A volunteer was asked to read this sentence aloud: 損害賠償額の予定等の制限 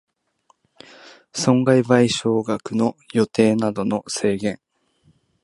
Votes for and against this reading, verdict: 1, 2, rejected